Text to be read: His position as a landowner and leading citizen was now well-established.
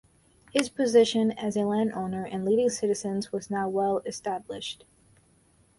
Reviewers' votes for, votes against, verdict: 0, 2, rejected